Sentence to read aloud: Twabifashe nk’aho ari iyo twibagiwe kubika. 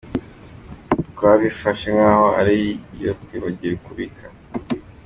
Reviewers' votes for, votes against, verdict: 2, 0, accepted